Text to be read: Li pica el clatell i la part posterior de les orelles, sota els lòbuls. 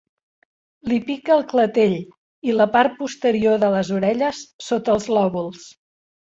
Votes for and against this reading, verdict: 2, 0, accepted